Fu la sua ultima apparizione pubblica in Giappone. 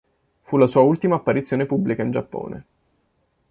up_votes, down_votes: 2, 0